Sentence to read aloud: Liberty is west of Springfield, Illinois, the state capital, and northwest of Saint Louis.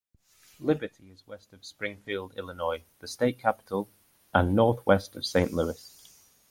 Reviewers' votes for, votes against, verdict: 1, 2, rejected